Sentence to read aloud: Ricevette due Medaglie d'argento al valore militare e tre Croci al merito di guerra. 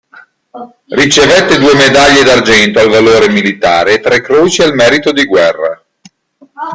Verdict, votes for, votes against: rejected, 0, 2